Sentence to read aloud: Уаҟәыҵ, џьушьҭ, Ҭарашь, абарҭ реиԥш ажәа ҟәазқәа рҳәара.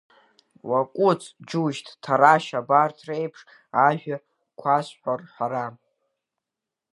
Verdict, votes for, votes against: rejected, 1, 2